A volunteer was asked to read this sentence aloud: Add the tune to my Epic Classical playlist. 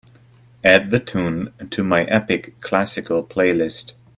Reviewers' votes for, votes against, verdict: 2, 0, accepted